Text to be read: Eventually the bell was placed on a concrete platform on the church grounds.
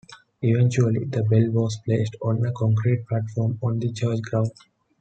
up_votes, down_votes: 2, 0